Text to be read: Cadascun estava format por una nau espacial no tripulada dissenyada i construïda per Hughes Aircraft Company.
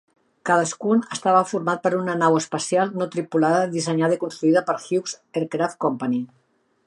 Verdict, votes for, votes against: accepted, 2, 0